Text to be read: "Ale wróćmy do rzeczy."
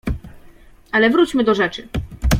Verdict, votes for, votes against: accepted, 2, 1